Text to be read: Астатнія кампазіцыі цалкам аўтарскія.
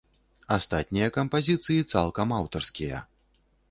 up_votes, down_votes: 2, 0